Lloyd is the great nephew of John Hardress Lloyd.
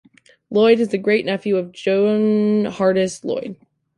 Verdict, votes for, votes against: rejected, 1, 2